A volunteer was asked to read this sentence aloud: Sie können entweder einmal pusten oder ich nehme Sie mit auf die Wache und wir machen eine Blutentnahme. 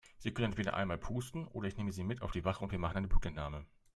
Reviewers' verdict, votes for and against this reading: rejected, 0, 2